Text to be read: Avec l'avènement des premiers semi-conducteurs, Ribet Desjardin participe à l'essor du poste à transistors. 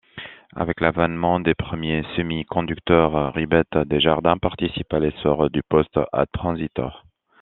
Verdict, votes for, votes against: accepted, 2, 1